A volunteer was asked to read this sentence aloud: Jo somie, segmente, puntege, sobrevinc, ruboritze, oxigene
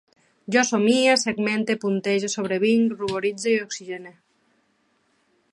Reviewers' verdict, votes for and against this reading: accepted, 2, 0